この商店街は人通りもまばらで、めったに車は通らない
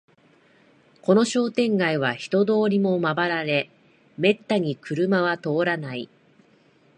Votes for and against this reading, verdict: 9, 2, accepted